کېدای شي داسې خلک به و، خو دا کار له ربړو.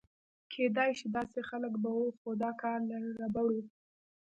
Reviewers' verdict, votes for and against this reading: rejected, 1, 2